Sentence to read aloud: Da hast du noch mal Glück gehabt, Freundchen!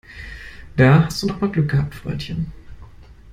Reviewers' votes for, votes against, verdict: 1, 2, rejected